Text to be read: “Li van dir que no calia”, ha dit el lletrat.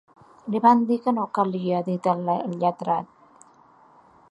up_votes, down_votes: 1, 2